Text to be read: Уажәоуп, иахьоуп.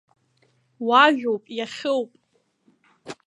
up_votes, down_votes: 1, 2